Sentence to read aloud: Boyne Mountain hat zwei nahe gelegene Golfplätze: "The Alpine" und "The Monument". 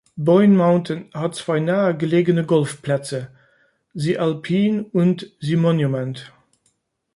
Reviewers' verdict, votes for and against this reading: accepted, 3, 0